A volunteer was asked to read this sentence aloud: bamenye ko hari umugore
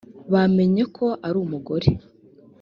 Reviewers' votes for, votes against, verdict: 1, 2, rejected